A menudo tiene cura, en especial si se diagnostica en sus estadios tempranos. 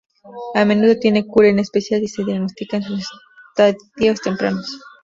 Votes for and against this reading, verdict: 2, 0, accepted